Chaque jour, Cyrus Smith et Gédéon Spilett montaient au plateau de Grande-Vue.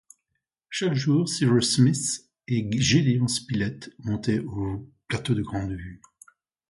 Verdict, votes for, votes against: rejected, 1, 2